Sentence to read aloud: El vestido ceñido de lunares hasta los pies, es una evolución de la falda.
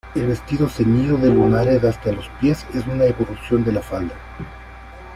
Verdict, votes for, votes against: accepted, 2, 0